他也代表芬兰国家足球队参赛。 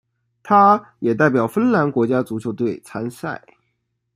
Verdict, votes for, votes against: accepted, 2, 0